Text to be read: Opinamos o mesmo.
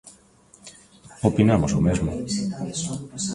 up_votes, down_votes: 0, 2